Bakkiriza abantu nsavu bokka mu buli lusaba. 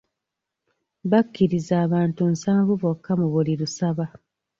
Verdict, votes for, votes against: accepted, 2, 1